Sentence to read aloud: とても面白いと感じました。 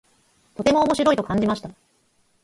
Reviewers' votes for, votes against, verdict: 2, 4, rejected